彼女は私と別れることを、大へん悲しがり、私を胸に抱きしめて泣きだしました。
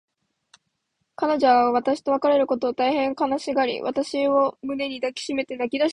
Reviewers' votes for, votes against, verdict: 1, 3, rejected